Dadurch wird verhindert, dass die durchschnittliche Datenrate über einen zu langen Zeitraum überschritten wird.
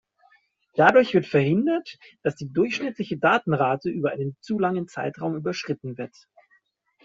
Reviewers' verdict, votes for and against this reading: accepted, 2, 0